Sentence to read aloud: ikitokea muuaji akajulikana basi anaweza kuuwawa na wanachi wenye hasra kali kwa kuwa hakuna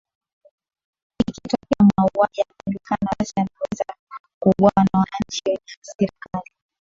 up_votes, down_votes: 2, 0